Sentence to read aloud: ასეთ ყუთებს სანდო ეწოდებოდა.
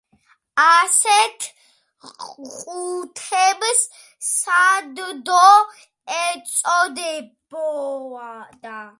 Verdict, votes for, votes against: rejected, 0, 2